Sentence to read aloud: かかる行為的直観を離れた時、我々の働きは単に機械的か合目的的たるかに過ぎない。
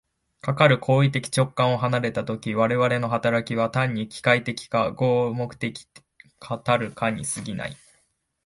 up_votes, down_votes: 0, 2